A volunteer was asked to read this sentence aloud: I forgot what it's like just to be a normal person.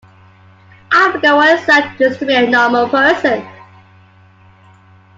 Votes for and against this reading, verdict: 2, 0, accepted